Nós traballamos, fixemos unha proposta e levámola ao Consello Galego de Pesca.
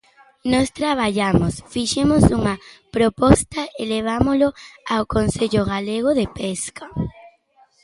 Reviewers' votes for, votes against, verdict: 1, 2, rejected